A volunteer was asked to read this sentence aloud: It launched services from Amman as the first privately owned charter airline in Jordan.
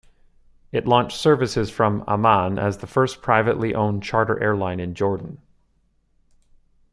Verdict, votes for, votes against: accepted, 2, 1